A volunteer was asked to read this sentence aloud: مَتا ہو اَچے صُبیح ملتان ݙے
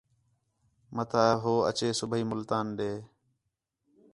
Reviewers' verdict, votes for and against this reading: accepted, 4, 0